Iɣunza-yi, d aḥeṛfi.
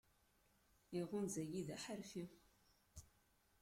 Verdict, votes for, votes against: accepted, 2, 1